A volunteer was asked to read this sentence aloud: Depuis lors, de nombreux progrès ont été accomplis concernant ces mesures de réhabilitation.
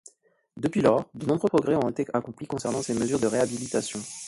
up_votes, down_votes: 0, 2